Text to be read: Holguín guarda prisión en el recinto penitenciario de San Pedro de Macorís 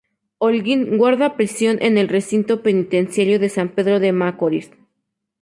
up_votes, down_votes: 0, 2